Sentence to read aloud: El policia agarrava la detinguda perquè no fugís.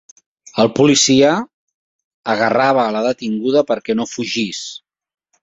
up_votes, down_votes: 3, 0